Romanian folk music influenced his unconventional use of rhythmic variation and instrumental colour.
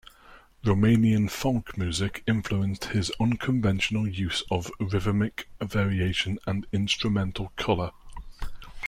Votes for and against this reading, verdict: 2, 0, accepted